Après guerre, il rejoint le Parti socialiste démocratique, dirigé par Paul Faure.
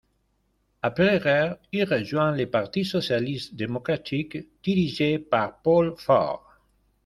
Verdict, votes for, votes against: accepted, 2, 0